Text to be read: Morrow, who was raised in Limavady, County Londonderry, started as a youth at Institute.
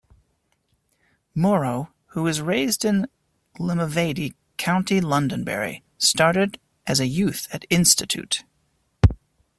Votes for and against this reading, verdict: 2, 1, accepted